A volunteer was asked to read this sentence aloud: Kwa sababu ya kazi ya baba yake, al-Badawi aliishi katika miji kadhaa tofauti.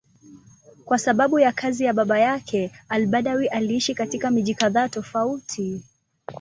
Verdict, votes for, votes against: rejected, 1, 2